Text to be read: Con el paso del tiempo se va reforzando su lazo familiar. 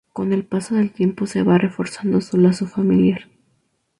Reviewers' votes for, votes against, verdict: 2, 0, accepted